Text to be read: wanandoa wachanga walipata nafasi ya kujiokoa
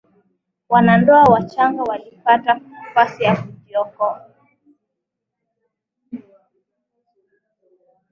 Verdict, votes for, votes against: accepted, 2, 1